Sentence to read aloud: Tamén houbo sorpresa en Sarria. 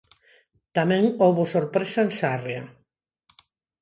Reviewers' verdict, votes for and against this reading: accepted, 4, 0